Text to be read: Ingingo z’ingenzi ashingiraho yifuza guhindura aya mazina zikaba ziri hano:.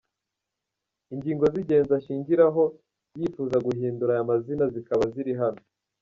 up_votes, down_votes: 2, 1